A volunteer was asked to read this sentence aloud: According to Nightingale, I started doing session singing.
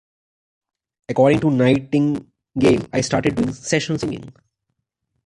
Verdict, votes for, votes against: rejected, 1, 2